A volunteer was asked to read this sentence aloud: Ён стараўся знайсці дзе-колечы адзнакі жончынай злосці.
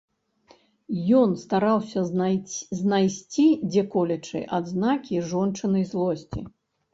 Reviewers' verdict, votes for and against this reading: rejected, 1, 2